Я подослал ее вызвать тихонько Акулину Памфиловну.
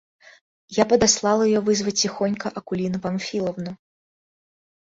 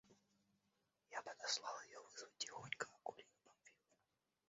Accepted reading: first